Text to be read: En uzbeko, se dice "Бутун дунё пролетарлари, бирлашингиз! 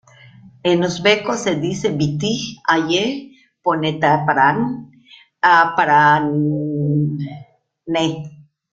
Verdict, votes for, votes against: rejected, 0, 2